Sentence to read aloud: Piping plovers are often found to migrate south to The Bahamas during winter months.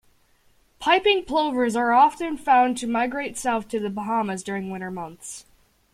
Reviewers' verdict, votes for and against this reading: accepted, 2, 0